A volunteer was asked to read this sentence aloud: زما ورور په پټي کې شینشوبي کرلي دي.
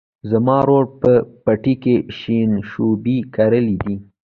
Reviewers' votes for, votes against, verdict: 1, 2, rejected